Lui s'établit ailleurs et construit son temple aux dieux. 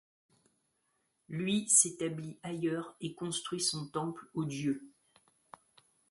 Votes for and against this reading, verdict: 2, 0, accepted